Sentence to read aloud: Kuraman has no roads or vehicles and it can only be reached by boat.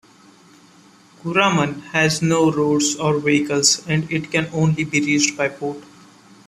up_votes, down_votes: 1, 2